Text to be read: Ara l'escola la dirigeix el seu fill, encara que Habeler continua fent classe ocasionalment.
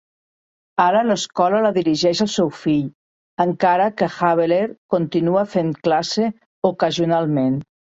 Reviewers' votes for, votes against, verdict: 3, 0, accepted